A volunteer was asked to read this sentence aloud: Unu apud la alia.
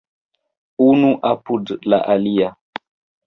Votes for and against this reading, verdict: 2, 0, accepted